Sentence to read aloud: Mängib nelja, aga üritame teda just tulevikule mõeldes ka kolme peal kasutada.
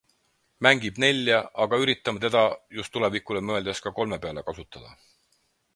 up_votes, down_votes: 4, 0